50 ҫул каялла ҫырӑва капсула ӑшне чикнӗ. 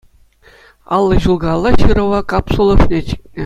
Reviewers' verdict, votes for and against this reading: rejected, 0, 2